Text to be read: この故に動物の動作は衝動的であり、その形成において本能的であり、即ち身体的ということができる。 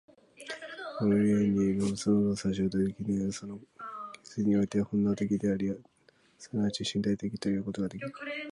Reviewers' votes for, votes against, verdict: 2, 1, accepted